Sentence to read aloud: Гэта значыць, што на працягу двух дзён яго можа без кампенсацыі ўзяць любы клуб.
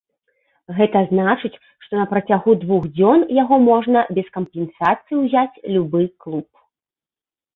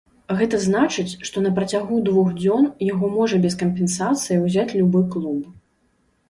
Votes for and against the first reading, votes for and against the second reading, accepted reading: 1, 2, 3, 0, second